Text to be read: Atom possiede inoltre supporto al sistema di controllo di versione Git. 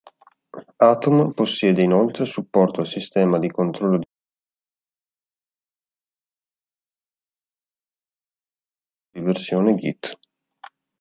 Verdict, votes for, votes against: rejected, 0, 2